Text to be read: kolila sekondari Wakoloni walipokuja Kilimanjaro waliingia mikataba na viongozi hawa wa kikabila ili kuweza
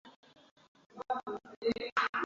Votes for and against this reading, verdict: 0, 2, rejected